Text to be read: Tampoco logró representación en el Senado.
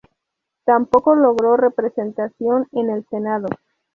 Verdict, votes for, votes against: rejected, 0, 2